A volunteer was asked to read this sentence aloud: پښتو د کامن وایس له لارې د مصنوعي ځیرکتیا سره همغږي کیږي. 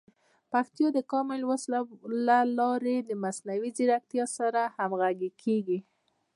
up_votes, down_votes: 2, 0